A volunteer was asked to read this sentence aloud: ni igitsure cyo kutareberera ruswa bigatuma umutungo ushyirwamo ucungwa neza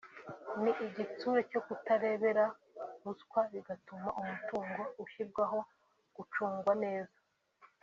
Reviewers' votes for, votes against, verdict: 0, 2, rejected